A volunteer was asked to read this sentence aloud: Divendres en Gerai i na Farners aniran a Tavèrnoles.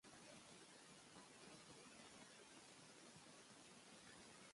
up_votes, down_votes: 1, 2